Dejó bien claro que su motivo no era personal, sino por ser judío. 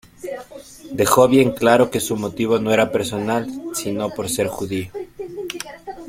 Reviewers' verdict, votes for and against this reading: accepted, 2, 1